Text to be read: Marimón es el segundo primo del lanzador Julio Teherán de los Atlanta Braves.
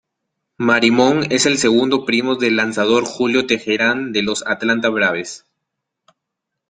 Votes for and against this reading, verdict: 2, 0, accepted